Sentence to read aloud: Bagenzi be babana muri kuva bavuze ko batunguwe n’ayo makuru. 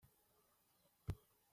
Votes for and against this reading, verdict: 0, 2, rejected